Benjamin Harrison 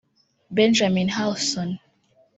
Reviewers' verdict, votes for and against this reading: rejected, 0, 2